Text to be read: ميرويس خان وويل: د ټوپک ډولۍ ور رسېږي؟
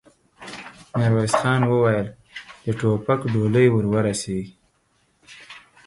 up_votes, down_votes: 2, 4